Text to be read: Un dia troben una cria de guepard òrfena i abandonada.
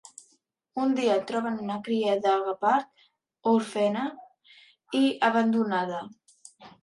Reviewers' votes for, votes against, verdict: 0, 2, rejected